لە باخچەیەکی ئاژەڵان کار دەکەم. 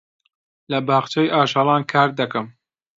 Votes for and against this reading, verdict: 0, 2, rejected